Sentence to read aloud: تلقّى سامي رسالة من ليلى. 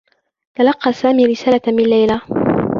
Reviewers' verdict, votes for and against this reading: rejected, 0, 2